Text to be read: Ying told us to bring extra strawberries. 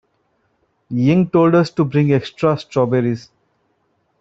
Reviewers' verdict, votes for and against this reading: rejected, 1, 2